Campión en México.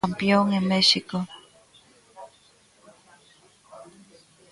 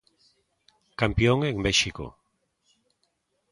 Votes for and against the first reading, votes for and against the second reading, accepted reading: 1, 2, 2, 0, second